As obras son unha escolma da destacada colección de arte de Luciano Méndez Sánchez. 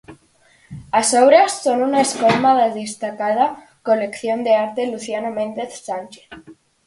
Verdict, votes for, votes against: rejected, 0, 4